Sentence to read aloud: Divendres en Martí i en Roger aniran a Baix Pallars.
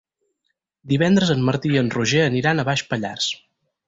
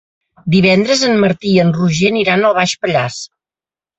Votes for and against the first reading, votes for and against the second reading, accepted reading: 6, 0, 1, 2, first